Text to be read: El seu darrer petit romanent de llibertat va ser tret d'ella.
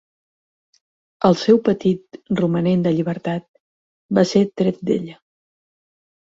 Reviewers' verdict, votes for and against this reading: rejected, 0, 6